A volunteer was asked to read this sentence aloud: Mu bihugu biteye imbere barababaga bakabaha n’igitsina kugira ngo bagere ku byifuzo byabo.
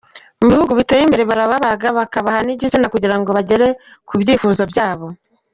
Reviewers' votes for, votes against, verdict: 0, 2, rejected